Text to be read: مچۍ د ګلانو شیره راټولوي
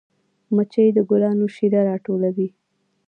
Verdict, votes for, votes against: accepted, 2, 0